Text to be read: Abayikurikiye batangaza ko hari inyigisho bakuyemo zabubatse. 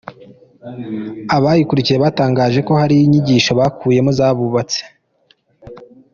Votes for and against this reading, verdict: 2, 1, accepted